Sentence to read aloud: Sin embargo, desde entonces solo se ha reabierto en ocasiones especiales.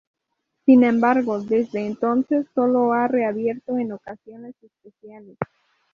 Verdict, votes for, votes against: rejected, 0, 4